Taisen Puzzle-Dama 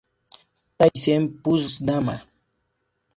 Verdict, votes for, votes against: accepted, 2, 0